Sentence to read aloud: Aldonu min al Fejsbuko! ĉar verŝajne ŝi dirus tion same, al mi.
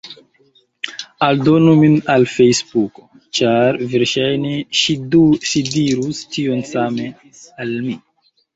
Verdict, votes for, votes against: rejected, 1, 2